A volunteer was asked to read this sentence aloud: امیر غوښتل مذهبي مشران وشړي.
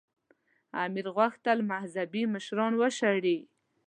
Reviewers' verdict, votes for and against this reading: accepted, 2, 0